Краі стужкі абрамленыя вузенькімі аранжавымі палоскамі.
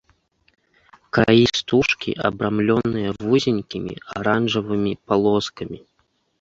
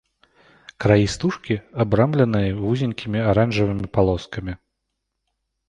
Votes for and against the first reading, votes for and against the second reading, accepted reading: 1, 2, 2, 0, second